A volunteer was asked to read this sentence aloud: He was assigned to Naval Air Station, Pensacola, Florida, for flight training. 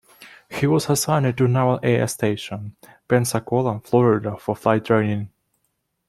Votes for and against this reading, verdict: 1, 2, rejected